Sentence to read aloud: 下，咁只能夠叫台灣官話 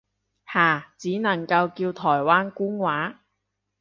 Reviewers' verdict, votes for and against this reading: rejected, 1, 2